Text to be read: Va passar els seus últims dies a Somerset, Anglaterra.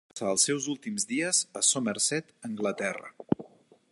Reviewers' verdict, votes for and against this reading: rejected, 1, 3